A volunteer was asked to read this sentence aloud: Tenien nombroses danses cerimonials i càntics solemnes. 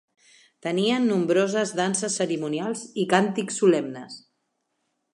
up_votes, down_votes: 2, 0